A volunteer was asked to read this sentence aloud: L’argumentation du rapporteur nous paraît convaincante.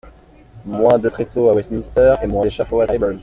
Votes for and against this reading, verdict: 0, 2, rejected